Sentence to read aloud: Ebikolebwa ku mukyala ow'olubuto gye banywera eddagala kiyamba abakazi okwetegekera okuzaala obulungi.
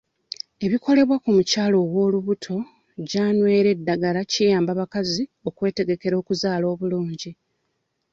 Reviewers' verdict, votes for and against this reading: rejected, 0, 2